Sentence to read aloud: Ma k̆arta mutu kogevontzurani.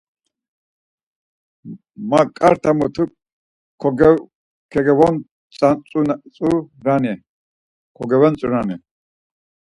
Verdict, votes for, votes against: rejected, 0, 4